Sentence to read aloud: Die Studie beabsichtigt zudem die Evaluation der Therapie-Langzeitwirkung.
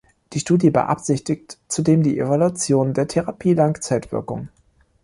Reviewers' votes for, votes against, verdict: 0, 2, rejected